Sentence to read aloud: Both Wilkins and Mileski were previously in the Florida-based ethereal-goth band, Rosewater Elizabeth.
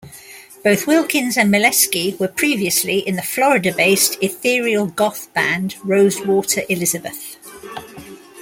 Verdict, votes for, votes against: accepted, 2, 1